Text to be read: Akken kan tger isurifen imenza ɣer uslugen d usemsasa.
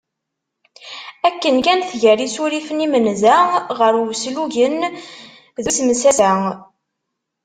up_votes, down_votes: 1, 2